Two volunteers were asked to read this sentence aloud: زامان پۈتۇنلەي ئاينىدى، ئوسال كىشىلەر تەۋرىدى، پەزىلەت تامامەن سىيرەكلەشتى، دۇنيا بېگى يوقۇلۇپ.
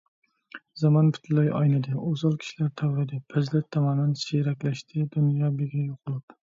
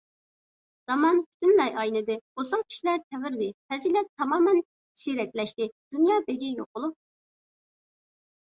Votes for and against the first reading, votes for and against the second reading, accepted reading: 1, 2, 2, 0, second